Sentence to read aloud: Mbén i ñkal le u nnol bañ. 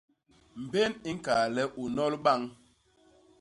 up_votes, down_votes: 2, 0